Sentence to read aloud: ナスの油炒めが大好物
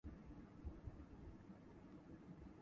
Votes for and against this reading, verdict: 0, 2, rejected